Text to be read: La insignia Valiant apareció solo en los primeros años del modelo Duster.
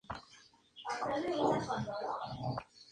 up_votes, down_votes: 0, 2